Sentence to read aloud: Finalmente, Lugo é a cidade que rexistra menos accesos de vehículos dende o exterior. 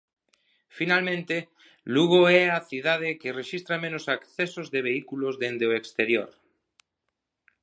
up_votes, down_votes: 2, 0